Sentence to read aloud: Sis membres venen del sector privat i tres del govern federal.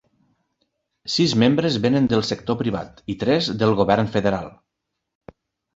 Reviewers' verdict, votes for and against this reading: accepted, 3, 0